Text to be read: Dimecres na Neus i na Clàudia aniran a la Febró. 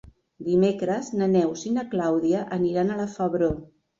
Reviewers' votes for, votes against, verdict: 3, 0, accepted